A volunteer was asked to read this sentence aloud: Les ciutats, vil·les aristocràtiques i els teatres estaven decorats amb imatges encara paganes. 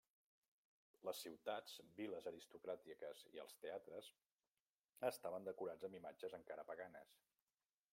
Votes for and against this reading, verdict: 0, 2, rejected